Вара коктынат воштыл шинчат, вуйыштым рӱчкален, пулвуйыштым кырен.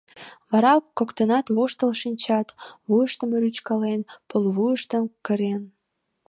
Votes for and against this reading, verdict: 2, 0, accepted